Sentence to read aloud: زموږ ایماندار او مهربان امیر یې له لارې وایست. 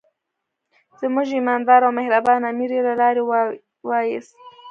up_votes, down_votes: 2, 1